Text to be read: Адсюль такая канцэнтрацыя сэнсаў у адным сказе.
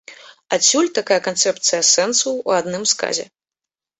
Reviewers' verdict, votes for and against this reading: rejected, 0, 2